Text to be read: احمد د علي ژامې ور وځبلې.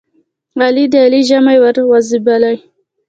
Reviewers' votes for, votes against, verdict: 1, 2, rejected